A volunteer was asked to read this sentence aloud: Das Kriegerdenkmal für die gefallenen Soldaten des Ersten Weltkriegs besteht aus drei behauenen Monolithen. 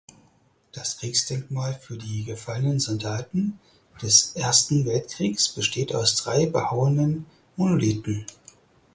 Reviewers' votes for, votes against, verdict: 0, 4, rejected